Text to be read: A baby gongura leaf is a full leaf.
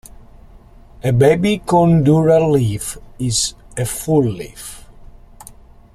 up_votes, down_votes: 0, 2